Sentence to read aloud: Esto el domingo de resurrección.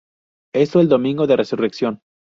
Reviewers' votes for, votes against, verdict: 0, 2, rejected